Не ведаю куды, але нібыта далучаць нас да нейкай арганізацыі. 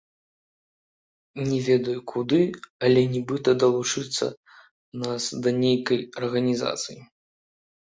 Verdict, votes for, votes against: rejected, 1, 2